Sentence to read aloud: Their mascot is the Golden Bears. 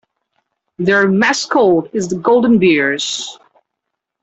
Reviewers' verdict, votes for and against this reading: rejected, 1, 2